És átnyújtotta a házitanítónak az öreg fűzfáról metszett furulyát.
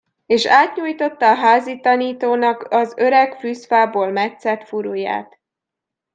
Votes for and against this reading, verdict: 0, 2, rejected